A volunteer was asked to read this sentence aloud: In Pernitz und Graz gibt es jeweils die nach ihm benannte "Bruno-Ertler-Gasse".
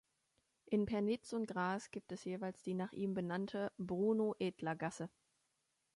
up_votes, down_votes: 1, 2